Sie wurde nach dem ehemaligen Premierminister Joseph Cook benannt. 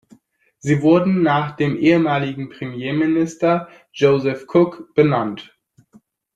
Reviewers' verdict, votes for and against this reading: accepted, 2, 0